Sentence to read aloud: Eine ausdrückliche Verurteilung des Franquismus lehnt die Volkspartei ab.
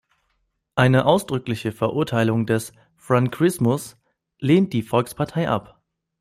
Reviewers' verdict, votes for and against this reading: rejected, 1, 2